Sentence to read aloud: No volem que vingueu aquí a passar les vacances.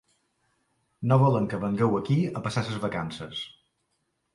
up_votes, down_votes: 0, 2